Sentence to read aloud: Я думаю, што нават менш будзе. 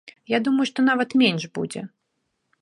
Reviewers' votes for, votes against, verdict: 2, 0, accepted